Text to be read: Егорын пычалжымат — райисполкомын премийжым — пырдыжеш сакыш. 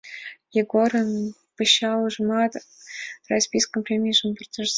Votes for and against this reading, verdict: 1, 2, rejected